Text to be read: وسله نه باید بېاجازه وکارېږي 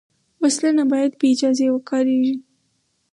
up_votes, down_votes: 2, 2